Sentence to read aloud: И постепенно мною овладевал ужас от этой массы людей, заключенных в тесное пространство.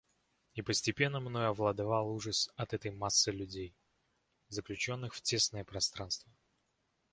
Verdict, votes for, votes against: accepted, 2, 0